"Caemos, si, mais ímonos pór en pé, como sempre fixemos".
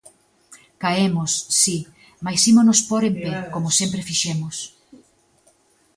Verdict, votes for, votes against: rejected, 0, 2